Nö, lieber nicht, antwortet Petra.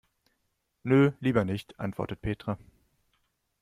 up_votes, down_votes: 2, 0